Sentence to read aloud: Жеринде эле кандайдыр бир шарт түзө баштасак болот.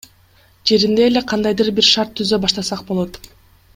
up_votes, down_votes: 2, 0